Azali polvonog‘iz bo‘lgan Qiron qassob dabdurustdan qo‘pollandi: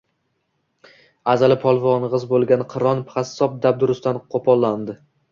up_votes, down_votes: 1, 2